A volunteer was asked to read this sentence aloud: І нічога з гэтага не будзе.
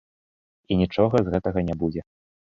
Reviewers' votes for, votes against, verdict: 3, 0, accepted